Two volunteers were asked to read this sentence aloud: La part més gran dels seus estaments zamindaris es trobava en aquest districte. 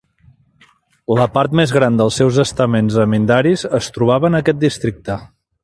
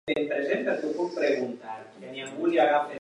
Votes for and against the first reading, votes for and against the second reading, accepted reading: 4, 2, 0, 2, first